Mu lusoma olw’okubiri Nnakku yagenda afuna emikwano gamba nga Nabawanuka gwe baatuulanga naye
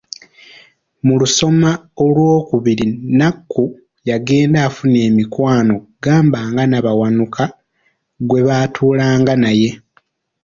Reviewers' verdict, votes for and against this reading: rejected, 0, 2